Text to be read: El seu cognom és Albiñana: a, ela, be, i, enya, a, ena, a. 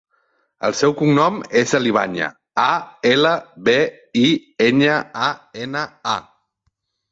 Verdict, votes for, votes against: rejected, 1, 2